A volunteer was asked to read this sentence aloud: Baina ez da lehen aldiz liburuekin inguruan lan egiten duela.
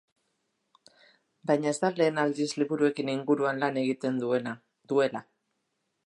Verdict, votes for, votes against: rejected, 1, 2